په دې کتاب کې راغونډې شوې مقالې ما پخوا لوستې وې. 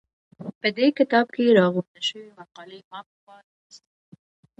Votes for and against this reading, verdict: 2, 0, accepted